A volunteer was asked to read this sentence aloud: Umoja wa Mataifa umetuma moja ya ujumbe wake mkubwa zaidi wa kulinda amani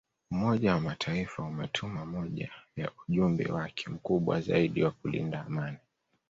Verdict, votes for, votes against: accepted, 2, 0